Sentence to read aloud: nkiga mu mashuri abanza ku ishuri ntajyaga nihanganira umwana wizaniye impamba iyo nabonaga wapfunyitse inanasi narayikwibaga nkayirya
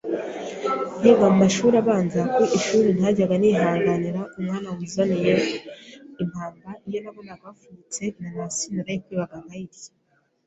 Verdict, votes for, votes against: accepted, 2, 0